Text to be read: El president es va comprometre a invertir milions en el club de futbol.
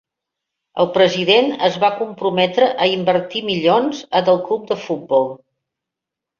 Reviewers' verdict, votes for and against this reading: rejected, 1, 2